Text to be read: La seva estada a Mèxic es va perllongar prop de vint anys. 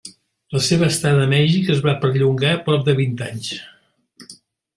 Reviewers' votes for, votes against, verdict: 0, 2, rejected